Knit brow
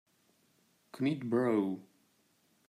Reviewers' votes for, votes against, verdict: 1, 2, rejected